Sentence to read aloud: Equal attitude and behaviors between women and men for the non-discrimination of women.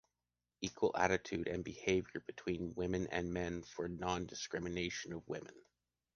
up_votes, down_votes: 2, 1